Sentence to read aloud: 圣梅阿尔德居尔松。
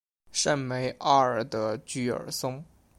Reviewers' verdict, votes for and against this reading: accepted, 2, 0